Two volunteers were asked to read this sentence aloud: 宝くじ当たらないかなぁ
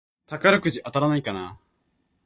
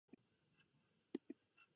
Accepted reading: first